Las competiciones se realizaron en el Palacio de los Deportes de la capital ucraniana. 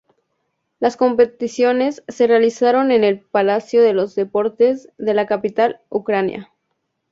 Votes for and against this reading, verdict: 0, 4, rejected